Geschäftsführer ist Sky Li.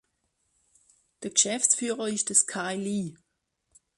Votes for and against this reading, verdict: 0, 2, rejected